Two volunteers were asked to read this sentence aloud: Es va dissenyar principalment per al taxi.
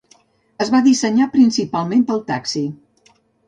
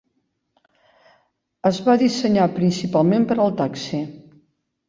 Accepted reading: second